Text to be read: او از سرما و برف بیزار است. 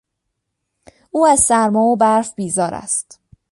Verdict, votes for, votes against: accepted, 2, 0